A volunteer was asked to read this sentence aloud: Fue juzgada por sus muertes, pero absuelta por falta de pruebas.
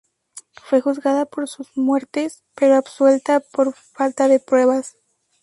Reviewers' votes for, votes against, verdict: 0, 2, rejected